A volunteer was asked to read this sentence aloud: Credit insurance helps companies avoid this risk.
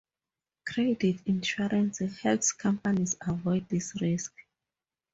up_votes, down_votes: 2, 0